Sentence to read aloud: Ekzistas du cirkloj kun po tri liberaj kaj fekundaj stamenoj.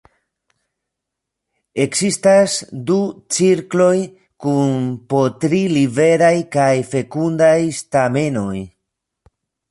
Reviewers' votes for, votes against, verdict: 1, 2, rejected